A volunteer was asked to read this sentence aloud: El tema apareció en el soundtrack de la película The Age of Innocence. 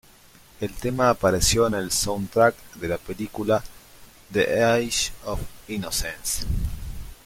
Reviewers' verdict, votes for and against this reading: accepted, 2, 1